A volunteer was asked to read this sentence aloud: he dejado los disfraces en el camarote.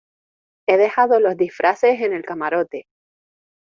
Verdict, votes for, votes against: accepted, 2, 1